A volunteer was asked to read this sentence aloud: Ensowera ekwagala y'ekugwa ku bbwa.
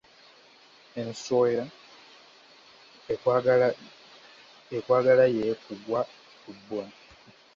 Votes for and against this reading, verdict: 0, 2, rejected